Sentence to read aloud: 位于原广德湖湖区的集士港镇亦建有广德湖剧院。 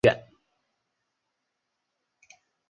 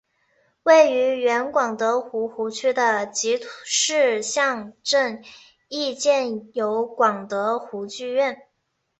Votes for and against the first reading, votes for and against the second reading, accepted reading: 0, 2, 2, 0, second